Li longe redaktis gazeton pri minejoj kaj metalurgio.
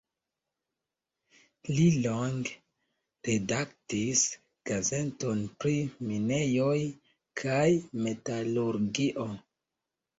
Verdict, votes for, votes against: rejected, 1, 2